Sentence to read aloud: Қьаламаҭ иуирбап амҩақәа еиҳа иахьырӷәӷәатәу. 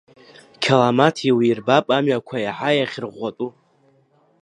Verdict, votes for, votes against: accepted, 2, 0